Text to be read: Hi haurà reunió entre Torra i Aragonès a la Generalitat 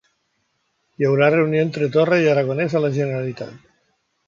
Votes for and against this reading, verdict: 2, 0, accepted